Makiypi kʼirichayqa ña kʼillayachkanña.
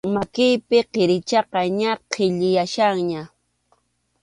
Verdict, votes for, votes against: accepted, 2, 0